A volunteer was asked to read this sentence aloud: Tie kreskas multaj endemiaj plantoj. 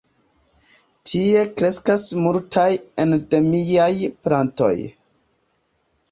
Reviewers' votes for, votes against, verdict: 2, 1, accepted